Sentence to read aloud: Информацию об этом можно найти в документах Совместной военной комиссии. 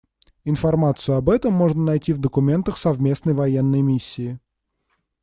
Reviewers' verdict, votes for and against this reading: rejected, 1, 2